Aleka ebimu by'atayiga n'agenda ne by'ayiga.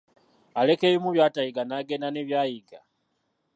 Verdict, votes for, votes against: rejected, 0, 2